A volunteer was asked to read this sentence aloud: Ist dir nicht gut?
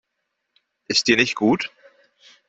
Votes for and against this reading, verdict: 2, 0, accepted